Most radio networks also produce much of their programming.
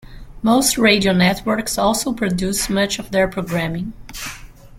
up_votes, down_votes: 2, 0